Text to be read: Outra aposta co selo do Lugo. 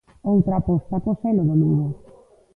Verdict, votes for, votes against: rejected, 0, 2